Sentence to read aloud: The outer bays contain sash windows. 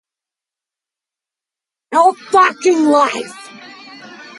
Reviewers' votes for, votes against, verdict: 0, 2, rejected